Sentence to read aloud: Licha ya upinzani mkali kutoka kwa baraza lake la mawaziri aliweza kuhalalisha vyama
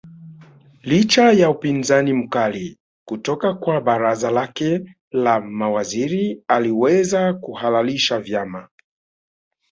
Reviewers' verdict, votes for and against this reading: accepted, 2, 1